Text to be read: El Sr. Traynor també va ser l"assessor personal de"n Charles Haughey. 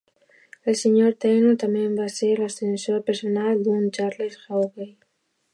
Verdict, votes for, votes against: rejected, 0, 2